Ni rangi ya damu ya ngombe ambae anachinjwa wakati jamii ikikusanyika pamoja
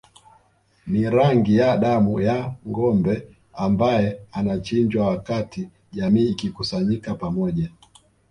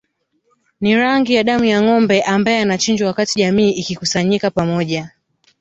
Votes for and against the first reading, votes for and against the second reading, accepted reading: 2, 0, 1, 2, first